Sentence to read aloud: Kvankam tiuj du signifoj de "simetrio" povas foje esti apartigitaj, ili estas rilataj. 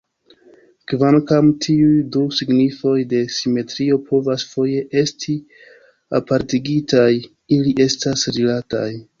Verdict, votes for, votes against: rejected, 1, 2